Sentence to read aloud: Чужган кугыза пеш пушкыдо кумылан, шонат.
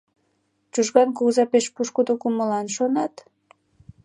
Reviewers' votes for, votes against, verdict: 2, 0, accepted